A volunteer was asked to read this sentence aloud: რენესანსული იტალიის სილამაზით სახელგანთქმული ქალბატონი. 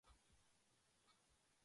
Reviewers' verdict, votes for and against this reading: rejected, 0, 2